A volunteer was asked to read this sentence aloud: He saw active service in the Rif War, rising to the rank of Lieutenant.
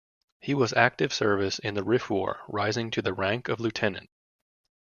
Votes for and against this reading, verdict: 1, 2, rejected